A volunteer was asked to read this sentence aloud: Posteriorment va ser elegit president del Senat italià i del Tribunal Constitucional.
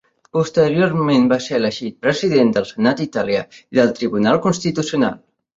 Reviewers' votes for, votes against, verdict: 2, 0, accepted